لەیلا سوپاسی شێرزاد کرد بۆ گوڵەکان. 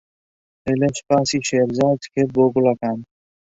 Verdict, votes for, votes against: accepted, 2, 0